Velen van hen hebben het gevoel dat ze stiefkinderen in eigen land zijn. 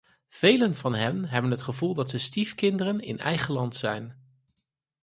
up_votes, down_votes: 4, 0